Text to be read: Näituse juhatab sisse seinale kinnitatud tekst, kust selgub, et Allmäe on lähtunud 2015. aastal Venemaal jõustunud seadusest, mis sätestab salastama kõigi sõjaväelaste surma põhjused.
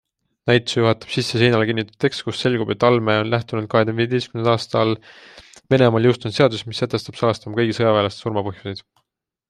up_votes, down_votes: 0, 2